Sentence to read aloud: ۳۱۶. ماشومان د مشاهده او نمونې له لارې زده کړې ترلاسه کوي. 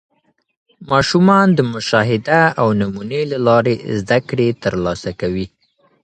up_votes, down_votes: 0, 2